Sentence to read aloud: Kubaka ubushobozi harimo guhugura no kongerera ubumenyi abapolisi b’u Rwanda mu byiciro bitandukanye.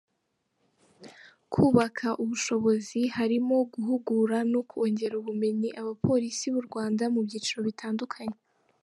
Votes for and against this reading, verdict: 2, 0, accepted